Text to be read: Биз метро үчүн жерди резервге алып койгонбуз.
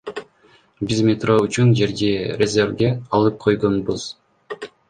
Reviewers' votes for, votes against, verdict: 1, 2, rejected